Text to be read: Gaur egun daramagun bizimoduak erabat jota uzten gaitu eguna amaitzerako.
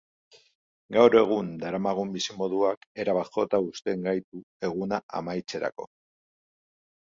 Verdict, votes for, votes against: accepted, 2, 0